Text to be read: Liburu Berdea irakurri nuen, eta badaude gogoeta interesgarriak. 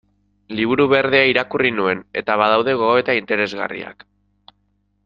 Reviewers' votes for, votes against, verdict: 2, 0, accepted